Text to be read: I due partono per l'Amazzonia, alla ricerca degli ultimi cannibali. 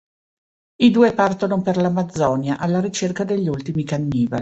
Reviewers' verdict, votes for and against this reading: rejected, 1, 2